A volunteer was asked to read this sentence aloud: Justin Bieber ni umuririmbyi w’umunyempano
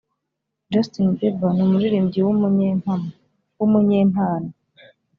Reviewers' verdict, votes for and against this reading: rejected, 0, 2